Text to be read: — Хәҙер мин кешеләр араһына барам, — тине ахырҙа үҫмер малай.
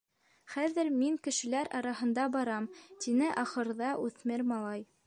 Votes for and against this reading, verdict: 1, 2, rejected